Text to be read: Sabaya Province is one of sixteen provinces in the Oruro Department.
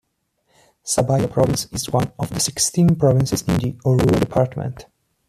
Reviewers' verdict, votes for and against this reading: accepted, 2, 0